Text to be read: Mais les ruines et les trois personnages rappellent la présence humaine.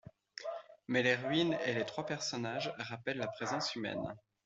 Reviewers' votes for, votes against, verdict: 2, 0, accepted